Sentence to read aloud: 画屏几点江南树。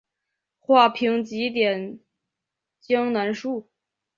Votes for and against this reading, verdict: 2, 0, accepted